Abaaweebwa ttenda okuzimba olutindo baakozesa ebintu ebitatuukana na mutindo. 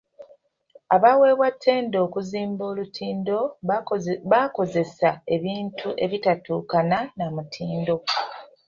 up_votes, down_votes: 0, 2